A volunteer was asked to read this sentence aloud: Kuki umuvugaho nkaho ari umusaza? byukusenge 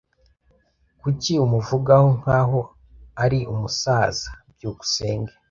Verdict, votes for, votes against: accepted, 2, 0